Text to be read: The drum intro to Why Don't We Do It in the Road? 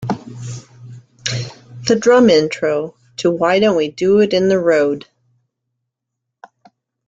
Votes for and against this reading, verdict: 2, 0, accepted